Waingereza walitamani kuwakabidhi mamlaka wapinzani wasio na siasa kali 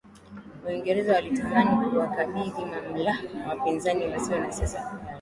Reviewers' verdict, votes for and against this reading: rejected, 1, 2